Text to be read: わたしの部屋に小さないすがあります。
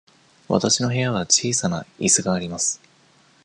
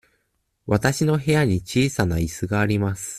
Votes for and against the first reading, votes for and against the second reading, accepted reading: 1, 2, 2, 0, second